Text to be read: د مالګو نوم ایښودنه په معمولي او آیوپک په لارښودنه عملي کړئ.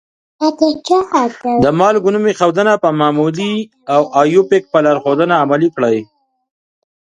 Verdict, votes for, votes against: rejected, 0, 2